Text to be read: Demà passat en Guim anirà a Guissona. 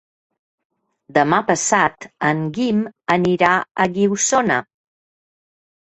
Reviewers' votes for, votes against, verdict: 0, 2, rejected